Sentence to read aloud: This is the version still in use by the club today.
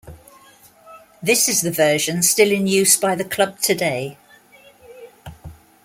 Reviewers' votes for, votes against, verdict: 1, 2, rejected